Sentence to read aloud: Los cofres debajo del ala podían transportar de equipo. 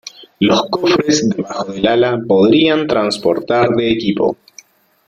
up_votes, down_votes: 1, 2